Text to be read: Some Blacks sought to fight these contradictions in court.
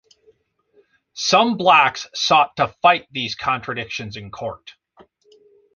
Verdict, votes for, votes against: accepted, 2, 0